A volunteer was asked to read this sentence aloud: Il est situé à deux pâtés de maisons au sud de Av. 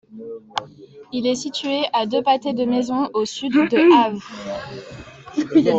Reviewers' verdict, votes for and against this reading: accepted, 2, 0